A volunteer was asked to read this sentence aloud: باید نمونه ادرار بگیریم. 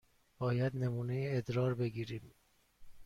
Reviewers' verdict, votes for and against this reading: accepted, 2, 0